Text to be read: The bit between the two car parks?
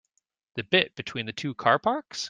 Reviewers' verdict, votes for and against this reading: accepted, 2, 0